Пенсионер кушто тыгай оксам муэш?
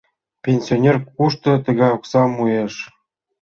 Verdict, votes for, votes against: accepted, 2, 0